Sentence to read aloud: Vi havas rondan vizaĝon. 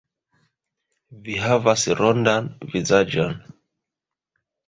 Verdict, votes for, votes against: accepted, 2, 0